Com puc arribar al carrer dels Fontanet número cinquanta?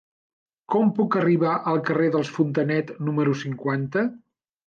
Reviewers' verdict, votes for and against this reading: accepted, 3, 0